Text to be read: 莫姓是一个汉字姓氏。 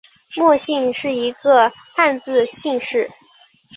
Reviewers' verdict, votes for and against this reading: accepted, 2, 0